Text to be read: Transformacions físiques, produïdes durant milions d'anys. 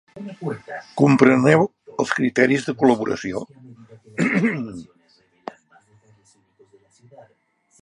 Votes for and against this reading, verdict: 0, 2, rejected